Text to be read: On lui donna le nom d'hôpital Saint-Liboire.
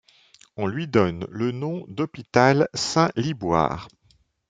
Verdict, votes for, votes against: rejected, 1, 2